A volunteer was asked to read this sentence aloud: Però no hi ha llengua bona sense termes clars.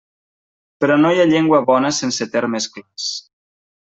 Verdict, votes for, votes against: rejected, 1, 2